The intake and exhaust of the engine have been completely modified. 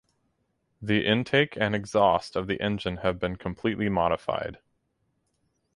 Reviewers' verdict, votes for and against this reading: accepted, 4, 0